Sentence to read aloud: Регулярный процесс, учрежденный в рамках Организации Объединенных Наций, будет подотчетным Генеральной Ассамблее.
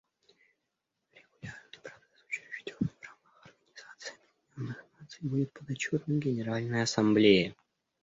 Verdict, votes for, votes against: rejected, 0, 2